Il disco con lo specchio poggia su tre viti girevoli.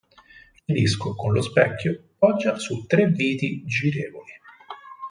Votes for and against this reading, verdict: 4, 2, accepted